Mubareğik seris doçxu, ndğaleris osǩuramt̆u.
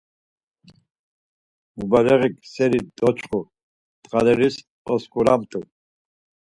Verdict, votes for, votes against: accepted, 4, 0